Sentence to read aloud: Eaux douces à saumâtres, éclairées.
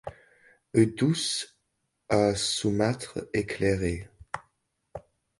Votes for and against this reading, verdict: 1, 2, rejected